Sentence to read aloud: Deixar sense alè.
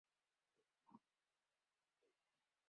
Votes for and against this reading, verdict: 0, 2, rejected